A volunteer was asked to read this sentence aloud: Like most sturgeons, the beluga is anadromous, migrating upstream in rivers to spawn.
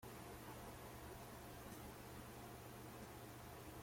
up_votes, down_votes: 0, 2